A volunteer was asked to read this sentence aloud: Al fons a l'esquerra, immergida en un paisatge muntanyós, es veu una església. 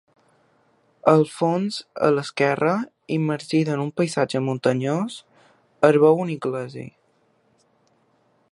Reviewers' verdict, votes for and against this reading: rejected, 0, 2